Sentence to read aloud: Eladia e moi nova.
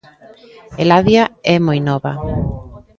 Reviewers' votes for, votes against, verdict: 2, 0, accepted